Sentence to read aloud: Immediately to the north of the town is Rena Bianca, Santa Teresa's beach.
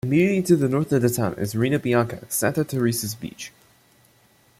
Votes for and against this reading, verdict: 2, 0, accepted